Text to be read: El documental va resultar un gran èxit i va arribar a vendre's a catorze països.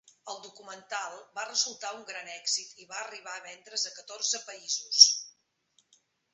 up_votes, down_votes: 0, 2